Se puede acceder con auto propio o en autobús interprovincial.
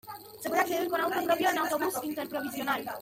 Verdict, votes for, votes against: accepted, 2, 0